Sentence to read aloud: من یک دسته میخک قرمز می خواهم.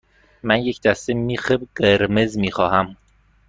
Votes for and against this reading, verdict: 1, 2, rejected